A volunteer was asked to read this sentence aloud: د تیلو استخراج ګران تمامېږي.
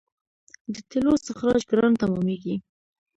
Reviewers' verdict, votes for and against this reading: accepted, 2, 1